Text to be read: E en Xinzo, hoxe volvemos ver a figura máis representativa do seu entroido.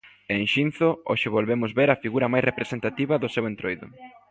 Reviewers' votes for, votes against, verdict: 1, 2, rejected